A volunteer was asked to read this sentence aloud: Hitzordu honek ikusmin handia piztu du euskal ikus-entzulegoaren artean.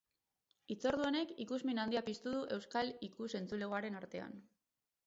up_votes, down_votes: 6, 0